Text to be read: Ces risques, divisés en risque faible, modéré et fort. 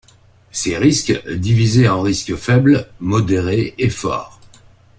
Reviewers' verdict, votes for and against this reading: accepted, 2, 0